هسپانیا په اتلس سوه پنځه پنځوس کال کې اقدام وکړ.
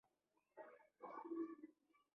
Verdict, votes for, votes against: rejected, 1, 2